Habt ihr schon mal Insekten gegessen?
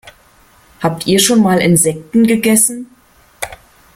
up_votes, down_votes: 2, 0